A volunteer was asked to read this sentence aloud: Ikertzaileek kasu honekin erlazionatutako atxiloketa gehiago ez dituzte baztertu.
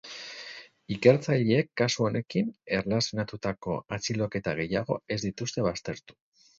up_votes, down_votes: 0, 2